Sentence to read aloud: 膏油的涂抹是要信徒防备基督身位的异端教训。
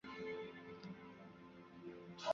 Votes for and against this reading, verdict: 1, 2, rejected